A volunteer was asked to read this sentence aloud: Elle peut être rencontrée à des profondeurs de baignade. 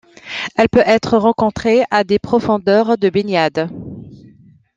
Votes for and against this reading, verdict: 2, 0, accepted